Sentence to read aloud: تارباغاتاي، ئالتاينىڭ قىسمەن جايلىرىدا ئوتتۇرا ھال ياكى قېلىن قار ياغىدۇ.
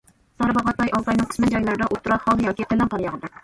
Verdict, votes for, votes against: rejected, 0, 2